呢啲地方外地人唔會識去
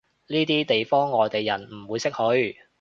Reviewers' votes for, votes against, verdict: 2, 0, accepted